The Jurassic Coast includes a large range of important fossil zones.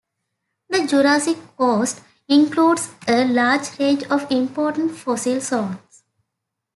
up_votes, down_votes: 2, 1